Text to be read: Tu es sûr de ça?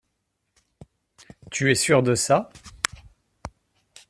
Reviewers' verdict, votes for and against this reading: accepted, 2, 0